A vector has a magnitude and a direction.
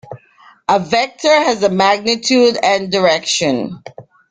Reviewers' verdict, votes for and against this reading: rejected, 1, 2